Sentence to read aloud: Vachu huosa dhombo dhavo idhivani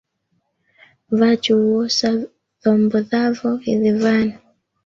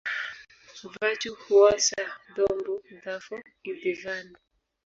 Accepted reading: second